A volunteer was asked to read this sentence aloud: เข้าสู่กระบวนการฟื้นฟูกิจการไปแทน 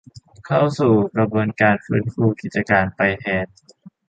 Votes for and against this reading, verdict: 2, 0, accepted